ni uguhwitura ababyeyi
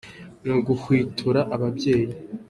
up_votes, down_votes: 2, 0